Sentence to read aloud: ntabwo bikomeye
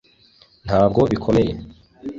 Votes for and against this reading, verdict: 2, 0, accepted